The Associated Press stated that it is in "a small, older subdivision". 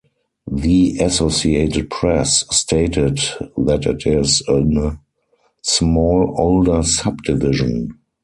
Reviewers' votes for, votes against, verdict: 4, 0, accepted